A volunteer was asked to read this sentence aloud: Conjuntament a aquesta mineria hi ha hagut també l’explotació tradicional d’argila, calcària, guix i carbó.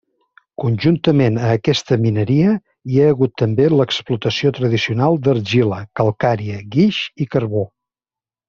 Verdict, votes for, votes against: accepted, 3, 0